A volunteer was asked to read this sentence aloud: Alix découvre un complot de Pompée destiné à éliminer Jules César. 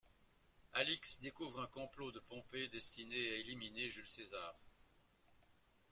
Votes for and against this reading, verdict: 2, 0, accepted